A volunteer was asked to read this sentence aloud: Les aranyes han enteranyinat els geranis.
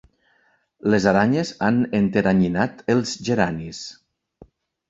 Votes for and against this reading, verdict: 3, 0, accepted